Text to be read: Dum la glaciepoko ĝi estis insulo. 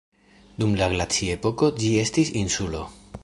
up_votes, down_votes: 2, 1